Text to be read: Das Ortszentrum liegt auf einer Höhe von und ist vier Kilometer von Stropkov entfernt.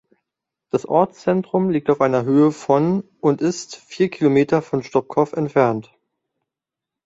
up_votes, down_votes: 2, 0